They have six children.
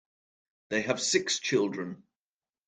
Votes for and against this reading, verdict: 2, 0, accepted